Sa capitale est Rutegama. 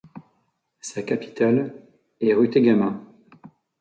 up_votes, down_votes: 2, 0